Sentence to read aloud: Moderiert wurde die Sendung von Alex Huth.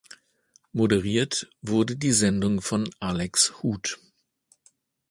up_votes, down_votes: 2, 0